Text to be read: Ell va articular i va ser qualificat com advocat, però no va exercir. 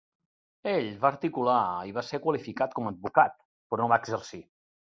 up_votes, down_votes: 1, 2